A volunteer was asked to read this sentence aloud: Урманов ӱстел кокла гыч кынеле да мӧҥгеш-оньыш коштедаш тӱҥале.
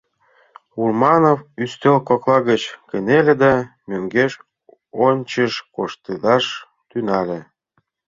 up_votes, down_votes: 0, 2